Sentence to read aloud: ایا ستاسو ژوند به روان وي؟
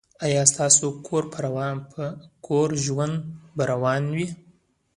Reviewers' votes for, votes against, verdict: 0, 2, rejected